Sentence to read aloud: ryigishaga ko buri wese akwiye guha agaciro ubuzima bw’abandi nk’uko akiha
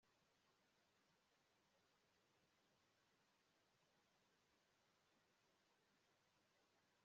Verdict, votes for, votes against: rejected, 0, 2